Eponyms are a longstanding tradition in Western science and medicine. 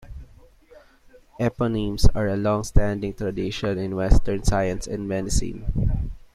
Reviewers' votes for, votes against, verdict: 2, 0, accepted